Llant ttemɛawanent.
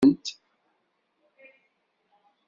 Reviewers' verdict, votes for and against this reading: rejected, 0, 2